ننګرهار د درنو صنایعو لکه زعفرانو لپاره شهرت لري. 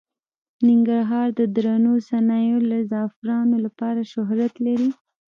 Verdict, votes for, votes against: rejected, 0, 2